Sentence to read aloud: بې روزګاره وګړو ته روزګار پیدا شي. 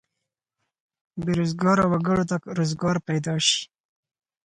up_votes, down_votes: 4, 0